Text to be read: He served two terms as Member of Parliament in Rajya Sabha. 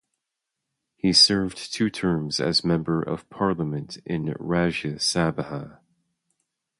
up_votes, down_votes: 0, 2